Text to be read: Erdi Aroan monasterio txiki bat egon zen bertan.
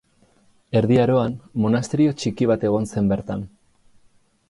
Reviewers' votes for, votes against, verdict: 4, 0, accepted